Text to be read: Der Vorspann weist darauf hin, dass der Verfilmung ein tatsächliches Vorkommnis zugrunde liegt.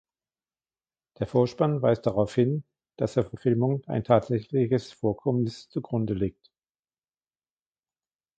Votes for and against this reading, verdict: 2, 1, accepted